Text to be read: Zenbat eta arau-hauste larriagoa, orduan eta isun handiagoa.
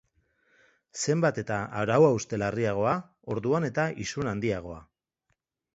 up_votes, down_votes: 2, 0